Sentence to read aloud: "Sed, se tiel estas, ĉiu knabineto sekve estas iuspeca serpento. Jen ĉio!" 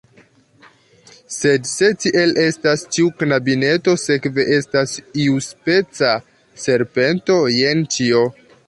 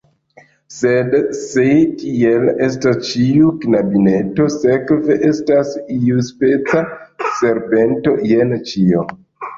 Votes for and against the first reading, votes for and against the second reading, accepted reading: 2, 0, 1, 2, first